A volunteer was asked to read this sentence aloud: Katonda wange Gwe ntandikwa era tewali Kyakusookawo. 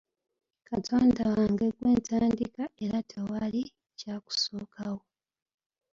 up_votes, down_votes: 0, 2